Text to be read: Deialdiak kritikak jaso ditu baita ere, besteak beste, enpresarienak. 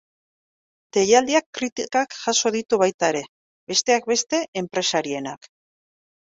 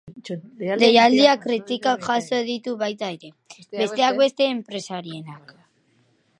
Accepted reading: first